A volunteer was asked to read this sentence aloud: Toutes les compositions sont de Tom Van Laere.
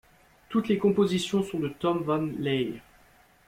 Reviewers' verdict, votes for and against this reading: accepted, 2, 0